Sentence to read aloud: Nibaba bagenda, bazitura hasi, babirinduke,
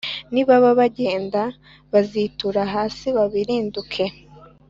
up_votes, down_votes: 2, 0